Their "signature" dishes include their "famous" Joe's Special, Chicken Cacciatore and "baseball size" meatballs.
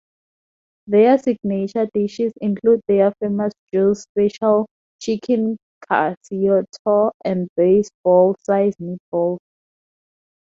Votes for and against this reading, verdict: 0, 2, rejected